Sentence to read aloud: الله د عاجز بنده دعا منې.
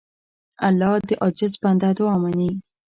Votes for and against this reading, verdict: 2, 0, accepted